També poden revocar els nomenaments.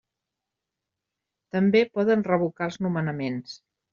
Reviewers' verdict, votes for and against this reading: accepted, 3, 0